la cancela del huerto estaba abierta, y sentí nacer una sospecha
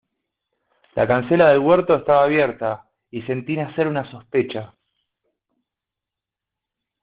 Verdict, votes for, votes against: accepted, 2, 0